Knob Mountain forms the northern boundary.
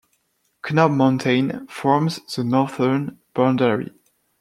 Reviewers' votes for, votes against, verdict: 1, 2, rejected